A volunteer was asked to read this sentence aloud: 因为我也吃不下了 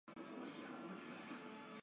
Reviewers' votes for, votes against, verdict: 0, 4, rejected